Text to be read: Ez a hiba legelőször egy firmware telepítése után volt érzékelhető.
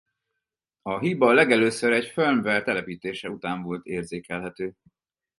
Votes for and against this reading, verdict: 2, 4, rejected